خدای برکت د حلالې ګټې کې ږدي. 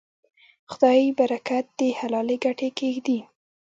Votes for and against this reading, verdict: 0, 2, rejected